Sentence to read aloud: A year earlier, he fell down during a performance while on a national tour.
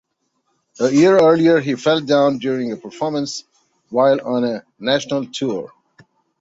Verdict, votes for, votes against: accepted, 2, 0